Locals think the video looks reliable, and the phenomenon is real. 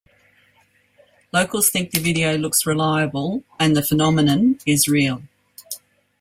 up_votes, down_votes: 2, 0